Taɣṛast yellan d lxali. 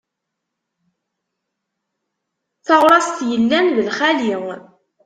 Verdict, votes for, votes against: accepted, 2, 0